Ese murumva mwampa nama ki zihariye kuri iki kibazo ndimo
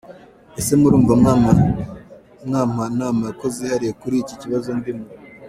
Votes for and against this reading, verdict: 1, 2, rejected